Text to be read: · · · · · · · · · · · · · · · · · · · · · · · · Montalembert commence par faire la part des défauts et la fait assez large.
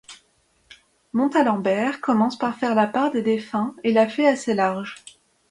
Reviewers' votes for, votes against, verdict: 0, 2, rejected